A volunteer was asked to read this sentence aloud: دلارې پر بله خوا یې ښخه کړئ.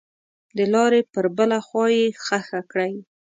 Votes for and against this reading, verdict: 2, 0, accepted